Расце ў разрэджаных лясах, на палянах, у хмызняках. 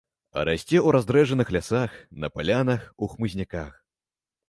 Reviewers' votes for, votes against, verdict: 1, 2, rejected